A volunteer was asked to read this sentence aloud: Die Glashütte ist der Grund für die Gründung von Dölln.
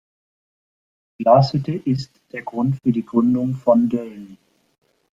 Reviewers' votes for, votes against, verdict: 2, 1, accepted